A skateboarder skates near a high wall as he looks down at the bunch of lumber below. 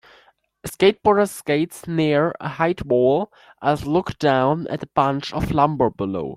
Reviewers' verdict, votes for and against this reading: rejected, 0, 3